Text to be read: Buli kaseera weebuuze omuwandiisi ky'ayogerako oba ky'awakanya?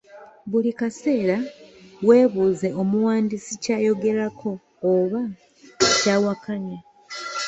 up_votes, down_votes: 0, 2